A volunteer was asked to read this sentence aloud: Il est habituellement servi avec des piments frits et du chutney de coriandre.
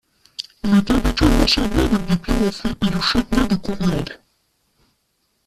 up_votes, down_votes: 0, 2